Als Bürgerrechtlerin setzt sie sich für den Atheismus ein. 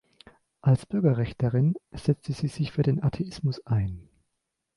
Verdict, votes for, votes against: rejected, 0, 2